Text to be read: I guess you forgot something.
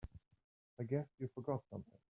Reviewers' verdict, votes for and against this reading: accepted, 2, 0